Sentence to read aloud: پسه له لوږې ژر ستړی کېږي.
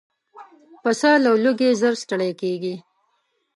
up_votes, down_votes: 1, 2